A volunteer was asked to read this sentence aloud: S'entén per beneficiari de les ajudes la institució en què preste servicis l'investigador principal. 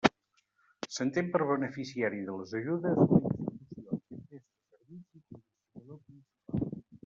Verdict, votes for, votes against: rejected, 0, 2